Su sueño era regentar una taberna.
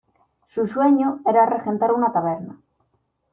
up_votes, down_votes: 2, 0